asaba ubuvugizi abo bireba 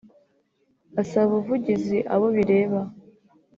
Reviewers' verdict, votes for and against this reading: accepted, 2, 0